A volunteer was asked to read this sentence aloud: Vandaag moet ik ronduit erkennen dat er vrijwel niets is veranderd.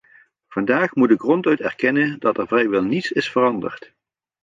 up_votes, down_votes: 3, 0